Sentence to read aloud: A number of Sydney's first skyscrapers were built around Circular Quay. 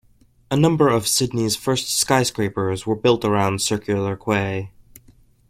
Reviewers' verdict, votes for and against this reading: rejected, 0, 2